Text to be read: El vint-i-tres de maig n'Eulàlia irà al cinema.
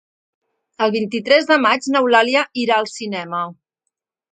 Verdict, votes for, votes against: accepted, 2, 0